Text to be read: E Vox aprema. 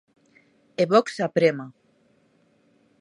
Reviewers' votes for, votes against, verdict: 2, 0, accepted